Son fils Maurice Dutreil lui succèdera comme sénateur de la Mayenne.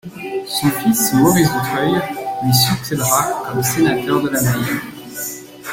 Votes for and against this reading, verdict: 0, 2, rejected